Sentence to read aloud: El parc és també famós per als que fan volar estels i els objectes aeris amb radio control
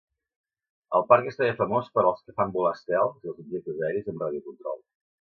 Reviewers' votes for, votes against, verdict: 0, 2, rejected